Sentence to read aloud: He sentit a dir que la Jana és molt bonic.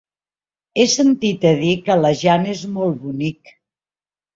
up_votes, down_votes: 2, 0